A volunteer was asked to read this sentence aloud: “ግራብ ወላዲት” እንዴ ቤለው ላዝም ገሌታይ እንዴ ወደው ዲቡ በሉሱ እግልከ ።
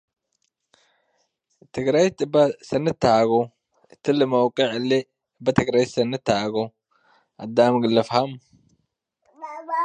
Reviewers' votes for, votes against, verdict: 0, 2, rejected